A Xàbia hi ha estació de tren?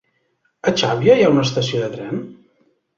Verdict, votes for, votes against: rejected, 1, 2